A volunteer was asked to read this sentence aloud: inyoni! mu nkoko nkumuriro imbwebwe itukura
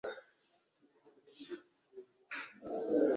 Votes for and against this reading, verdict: 0, 2, rejected